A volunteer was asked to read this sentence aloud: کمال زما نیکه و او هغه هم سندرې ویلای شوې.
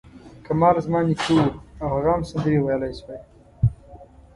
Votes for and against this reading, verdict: 1, 2, rejected